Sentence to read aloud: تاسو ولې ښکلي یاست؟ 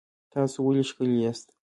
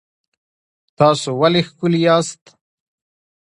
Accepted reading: second